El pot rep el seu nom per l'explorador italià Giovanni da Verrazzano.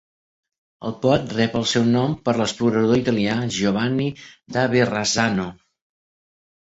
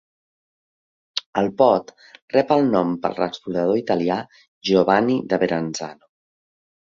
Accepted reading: first